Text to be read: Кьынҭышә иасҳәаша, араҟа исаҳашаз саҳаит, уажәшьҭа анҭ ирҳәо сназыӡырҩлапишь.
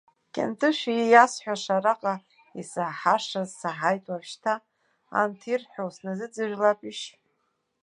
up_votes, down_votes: 1, 2